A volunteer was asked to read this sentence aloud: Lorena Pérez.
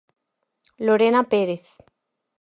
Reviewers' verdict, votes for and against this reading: accepted, 4, 0